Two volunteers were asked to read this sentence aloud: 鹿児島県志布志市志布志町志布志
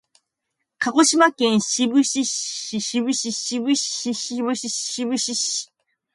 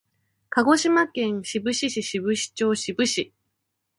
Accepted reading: second